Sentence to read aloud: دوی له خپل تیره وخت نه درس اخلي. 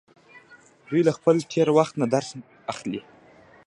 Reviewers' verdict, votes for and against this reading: rejected, 0, 2